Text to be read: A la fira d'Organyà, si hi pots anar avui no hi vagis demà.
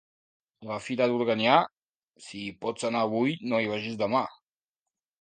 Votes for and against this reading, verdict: 0, 2, rejected